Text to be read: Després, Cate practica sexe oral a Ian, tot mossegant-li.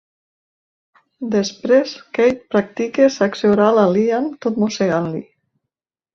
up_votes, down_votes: 1, 2